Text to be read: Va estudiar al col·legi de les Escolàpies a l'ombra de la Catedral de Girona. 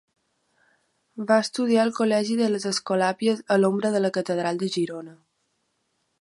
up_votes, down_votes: 2, 0